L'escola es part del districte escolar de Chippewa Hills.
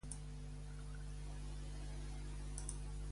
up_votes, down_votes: 0, 2